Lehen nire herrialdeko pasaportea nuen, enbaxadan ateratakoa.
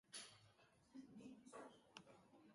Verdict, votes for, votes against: rejected, 0, 2